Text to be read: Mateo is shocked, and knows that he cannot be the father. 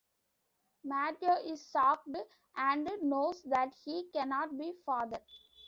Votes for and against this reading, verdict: 1, 2, rejected